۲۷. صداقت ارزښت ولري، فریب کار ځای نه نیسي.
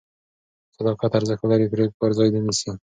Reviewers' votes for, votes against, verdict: 0, 2, rejected